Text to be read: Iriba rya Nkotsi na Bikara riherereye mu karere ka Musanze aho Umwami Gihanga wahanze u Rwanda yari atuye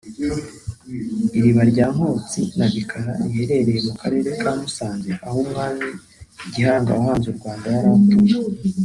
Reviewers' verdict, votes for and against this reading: rejected, 1, 2